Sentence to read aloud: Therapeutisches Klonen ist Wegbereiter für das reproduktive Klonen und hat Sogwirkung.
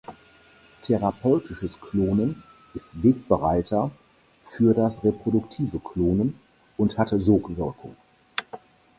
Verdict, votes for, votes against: rejected, 0, 4